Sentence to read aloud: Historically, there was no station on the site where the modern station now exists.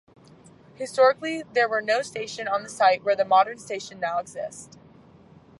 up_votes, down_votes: 0, 2